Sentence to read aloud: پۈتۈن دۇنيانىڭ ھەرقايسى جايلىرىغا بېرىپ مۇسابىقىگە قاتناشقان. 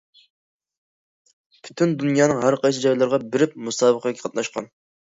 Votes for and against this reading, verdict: 2, 0, accepted